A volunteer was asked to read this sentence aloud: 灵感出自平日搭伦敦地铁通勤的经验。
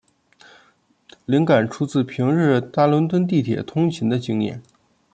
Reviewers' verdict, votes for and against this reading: rejected, 1, 2